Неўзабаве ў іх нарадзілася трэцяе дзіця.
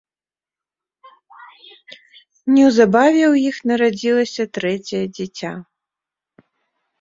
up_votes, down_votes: 2, 0